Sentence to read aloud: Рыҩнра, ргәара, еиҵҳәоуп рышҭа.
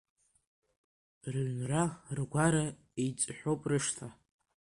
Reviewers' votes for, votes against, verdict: 2, 1, accepted